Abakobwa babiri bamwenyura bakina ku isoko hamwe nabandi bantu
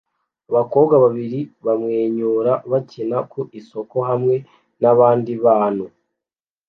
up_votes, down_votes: 2, 0